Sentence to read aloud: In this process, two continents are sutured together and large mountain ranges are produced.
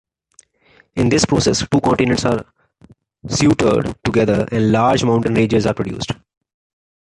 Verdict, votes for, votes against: rejected, 0, 2